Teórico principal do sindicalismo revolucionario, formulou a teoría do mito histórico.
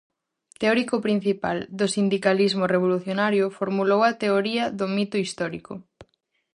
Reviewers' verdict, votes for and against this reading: accepted, 4, 0